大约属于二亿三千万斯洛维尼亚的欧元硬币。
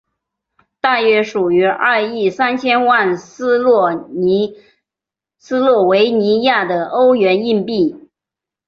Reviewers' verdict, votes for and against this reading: rejected, 2, 4